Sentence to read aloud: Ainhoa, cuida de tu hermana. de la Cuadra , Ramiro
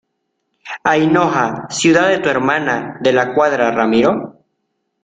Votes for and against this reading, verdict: 0, 2, rejected